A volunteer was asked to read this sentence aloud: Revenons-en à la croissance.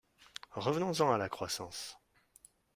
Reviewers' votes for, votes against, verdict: 2, 0, accepted